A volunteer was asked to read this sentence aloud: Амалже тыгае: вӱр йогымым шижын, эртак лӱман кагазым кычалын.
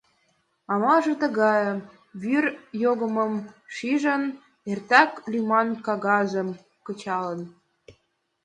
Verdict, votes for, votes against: accepted, 2, 0